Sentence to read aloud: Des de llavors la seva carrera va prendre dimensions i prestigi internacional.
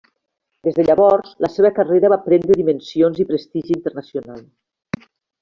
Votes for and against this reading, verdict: 0, 2, rejected